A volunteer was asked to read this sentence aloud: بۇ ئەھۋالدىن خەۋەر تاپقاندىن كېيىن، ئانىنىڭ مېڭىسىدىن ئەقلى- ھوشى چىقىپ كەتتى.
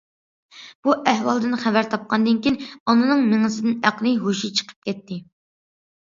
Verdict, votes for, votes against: accepted, 2, 0